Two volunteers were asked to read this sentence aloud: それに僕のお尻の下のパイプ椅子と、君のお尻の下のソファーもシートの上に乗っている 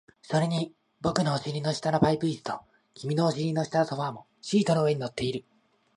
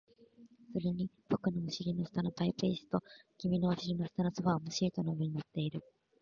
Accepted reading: first